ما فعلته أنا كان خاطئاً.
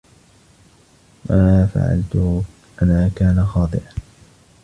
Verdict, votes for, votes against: accepted, 2, 1